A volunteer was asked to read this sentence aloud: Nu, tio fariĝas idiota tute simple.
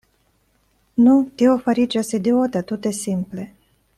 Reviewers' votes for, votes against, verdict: 2, 0, accepted